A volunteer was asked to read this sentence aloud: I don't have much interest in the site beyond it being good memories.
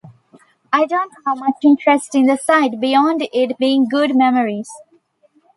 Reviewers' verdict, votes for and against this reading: accepted, 2, 0